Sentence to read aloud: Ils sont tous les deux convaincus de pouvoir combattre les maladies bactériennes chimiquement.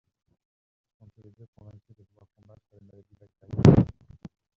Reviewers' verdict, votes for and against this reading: rejected, 0, 2